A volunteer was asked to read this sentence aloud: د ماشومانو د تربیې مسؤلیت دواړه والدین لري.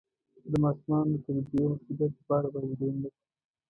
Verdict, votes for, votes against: rejected, 1, 2